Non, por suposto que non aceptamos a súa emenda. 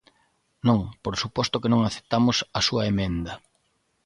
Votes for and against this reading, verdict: 2, 0, accepted